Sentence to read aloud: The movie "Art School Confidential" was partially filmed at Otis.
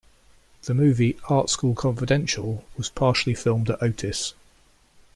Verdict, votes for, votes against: accepted, 2, 0